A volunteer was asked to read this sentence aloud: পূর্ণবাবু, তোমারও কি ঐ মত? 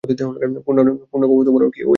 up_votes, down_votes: 0, 2